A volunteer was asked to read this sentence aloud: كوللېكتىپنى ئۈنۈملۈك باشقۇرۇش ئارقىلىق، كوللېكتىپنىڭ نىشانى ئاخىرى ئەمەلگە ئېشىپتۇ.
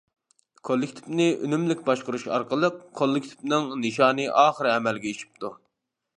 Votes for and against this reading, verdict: 2, 0, accepted